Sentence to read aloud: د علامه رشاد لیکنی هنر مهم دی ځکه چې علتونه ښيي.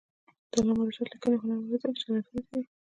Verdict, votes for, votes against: rejected, 1, 2